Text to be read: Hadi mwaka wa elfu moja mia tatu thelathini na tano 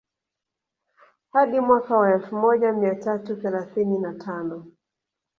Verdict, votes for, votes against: rejected, 1, 2